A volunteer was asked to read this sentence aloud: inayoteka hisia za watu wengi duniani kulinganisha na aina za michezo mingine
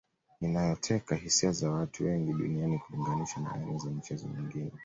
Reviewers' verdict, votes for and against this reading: accepted, 2, 0